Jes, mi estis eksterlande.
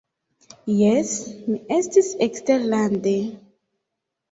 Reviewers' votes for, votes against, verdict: 2, 1, accepted